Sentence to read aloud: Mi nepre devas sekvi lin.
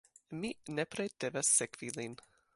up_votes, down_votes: 3, 0